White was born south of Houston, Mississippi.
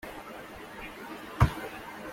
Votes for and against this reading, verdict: 0, 2, rejected